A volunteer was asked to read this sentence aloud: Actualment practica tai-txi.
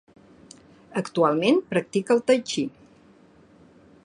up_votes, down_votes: 0, 2